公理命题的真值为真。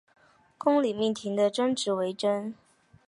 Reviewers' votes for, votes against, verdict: 2, 3, rejected